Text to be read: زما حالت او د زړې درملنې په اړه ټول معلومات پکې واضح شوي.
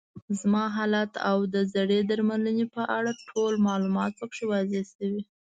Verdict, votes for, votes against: accepted, 2, 0